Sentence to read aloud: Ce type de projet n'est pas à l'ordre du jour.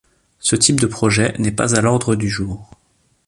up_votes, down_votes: 2, 0